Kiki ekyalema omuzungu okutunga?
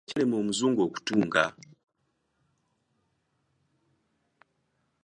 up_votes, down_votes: 1, 2